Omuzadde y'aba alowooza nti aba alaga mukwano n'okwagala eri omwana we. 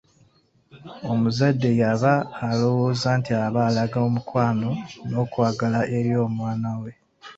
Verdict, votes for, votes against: rejected, 0, 2